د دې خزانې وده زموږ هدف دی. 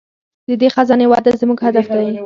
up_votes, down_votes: 4, 2